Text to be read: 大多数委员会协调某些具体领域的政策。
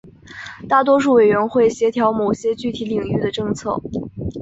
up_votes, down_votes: 2, 0